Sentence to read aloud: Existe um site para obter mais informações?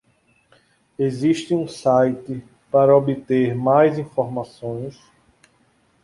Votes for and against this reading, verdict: 2, 0, accepted